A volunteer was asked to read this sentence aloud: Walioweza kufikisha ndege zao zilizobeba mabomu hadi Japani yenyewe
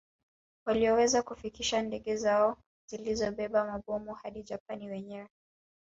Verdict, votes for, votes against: rejected, 1, 2